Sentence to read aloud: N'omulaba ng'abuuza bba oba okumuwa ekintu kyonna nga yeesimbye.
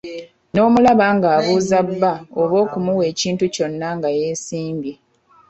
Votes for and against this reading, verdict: 1, 2, rejected